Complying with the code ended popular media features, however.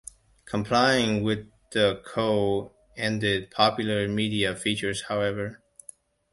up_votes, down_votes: 2, 3